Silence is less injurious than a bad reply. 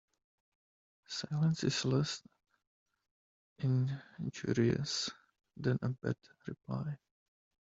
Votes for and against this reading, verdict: 1, 2, rejected